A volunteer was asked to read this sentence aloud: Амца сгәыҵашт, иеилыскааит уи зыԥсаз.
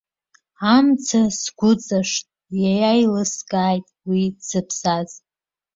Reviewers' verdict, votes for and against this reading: rejected, 0, 2